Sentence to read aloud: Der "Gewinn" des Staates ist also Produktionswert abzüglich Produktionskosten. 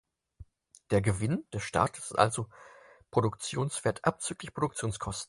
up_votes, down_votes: 4, 0